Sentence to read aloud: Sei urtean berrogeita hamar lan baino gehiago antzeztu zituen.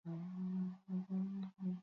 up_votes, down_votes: 0, 2